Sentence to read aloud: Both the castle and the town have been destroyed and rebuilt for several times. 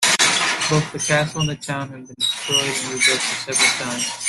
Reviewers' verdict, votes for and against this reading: rejected, 0, 2